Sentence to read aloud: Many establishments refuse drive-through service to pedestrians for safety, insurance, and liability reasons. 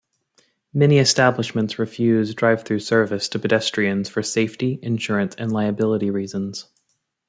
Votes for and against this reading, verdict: 2, 0, accepted